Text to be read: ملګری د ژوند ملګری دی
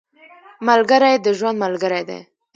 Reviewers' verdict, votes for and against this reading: rejected, 1, 2